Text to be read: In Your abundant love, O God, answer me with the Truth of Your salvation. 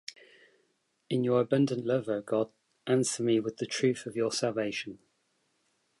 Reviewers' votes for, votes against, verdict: 2, 0, accepted